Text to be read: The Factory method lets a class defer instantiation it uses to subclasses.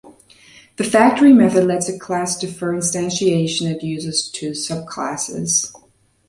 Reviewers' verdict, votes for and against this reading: accepted, 2, 0